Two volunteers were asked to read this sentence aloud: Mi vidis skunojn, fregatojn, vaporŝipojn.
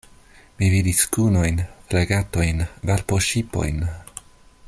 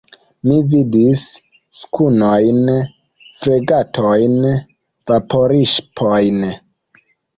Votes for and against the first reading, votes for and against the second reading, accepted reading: 2, 0, 0, 2, first